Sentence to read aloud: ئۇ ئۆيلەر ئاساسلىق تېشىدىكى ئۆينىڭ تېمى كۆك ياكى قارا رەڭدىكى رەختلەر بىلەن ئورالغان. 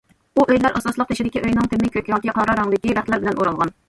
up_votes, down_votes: 1, 2